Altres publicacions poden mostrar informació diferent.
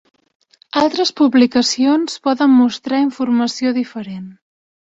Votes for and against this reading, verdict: 4, 0, accepted